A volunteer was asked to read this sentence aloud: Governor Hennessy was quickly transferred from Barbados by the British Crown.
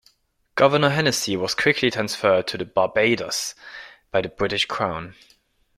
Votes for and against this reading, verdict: 0, 3, rejected